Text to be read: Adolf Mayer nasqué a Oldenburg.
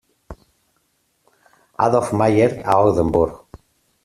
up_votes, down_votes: 0, 2